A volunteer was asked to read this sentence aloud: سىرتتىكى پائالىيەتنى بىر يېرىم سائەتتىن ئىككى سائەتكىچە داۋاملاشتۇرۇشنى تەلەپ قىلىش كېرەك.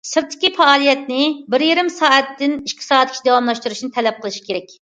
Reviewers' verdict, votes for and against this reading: accepted, 2, 0